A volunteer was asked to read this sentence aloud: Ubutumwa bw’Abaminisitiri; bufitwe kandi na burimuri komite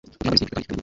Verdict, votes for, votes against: accepted, 2, 1